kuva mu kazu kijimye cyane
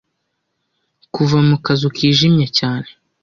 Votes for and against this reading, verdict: 2, 0, accepted